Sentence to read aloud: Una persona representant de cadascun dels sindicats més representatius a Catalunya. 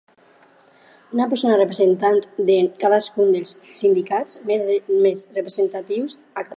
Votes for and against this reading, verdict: 2, 4, rejected